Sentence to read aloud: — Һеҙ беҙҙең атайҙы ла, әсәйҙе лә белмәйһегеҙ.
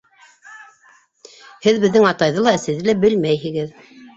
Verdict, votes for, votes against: accepted, 3, 0